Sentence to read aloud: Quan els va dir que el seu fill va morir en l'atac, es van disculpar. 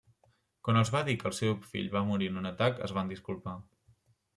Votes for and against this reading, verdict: 1, 2, rejected